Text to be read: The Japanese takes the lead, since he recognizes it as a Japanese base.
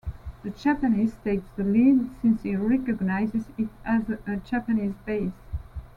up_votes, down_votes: 2, 0